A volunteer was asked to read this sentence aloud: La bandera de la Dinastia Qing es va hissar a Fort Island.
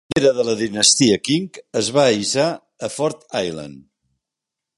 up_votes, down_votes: 1, 2